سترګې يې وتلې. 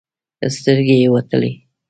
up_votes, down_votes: 2, 0